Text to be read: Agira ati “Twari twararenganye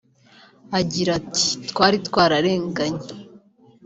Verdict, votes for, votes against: accepted, 2, 0